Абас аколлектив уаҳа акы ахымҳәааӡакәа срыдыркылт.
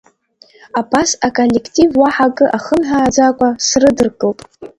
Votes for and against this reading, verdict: 2, 0, accepted